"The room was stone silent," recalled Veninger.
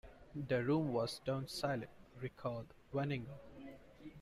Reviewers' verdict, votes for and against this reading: accepted, 2, 0